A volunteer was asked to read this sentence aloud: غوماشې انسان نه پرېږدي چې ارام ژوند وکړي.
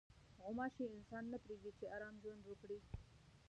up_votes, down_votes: 0, 2